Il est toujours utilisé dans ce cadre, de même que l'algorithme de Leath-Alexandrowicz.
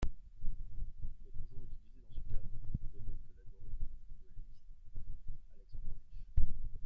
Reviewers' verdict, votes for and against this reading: rejected, 0, 3